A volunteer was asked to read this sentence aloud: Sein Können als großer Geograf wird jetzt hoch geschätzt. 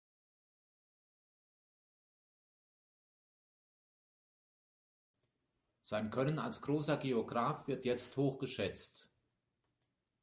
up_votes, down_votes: 2, 0